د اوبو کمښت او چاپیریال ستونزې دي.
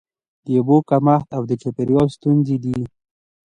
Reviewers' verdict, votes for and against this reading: accepted, 2, 0